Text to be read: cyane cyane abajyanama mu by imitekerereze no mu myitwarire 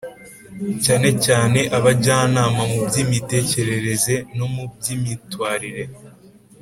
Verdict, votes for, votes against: rejected, 1, 2